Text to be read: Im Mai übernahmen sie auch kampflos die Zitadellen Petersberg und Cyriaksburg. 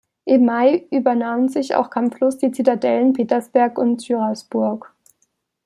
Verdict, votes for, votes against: rejected, 0, 2